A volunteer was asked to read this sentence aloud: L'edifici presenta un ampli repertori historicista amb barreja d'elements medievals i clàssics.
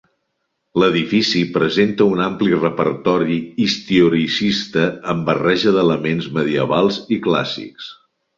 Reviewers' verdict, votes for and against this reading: rejected, 0, 2